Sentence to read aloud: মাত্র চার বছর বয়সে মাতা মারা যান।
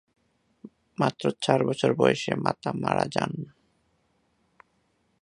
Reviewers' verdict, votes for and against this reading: rejected, 1, 2